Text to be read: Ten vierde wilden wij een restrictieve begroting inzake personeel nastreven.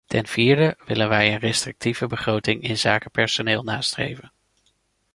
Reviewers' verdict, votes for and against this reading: rejected, 1, 2